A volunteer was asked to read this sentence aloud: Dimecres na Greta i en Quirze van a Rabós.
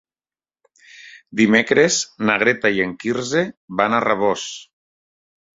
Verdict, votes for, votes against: accepted, 3, 0